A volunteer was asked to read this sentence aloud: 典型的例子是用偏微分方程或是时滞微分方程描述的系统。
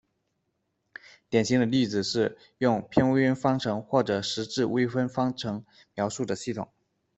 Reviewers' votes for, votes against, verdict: 2, 0, accepted